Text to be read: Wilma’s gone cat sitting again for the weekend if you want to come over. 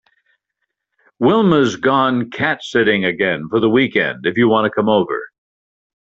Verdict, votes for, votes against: accepted, 2, 0